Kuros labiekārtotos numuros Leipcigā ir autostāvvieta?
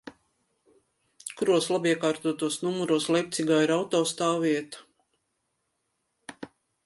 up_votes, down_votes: 3, 0